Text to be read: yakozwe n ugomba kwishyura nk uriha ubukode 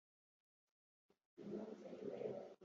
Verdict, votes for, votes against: rejected, 0, 2